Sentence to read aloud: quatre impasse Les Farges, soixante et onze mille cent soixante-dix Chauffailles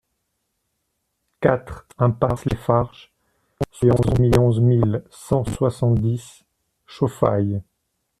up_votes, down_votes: 0, 2